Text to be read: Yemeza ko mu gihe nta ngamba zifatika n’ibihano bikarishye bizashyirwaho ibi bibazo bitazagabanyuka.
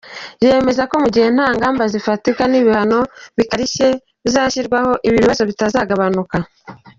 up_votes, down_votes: 0, 2